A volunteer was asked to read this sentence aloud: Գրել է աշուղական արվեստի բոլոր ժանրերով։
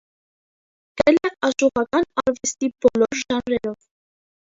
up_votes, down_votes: 0, 2